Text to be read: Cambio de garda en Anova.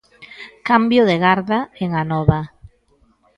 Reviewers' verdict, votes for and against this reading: accepted, 2, 0